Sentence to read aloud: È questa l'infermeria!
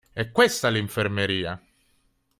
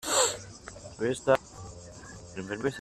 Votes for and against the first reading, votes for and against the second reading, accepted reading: 2, 0, 0, 2, first